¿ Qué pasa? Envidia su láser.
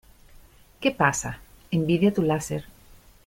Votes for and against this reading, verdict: 0, 2, rejected